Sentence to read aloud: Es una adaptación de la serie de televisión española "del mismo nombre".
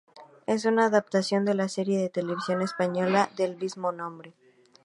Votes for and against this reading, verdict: 2, 0, accepted